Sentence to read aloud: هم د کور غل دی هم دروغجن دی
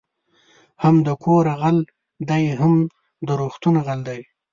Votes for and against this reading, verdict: 0, 2, rejected